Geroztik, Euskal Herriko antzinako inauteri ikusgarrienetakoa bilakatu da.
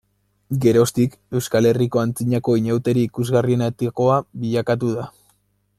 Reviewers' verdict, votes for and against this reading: rejected, 1, 2